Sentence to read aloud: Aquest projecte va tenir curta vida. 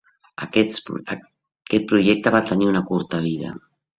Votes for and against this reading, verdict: 0, 2, rejected